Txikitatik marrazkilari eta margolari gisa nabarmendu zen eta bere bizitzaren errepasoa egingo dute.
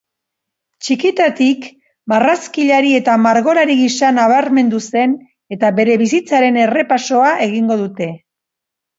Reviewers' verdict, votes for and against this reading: accepted, 2, 0